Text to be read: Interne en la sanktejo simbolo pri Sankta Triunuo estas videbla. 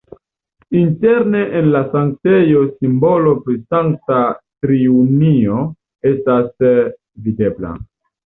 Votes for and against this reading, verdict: 0, 2, rejected